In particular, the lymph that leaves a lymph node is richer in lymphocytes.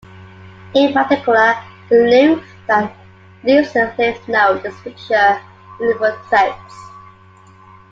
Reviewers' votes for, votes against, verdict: 1, 2, rejected